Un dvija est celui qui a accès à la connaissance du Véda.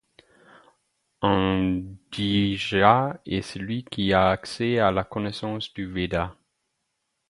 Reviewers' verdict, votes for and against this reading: accepted, 4, 0